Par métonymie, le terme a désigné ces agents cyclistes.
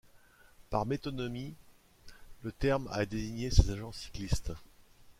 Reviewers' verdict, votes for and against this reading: rejected, 0, 2